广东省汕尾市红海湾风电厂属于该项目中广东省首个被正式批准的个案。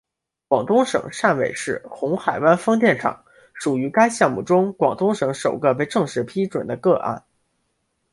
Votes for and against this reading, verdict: 2, 0, accepted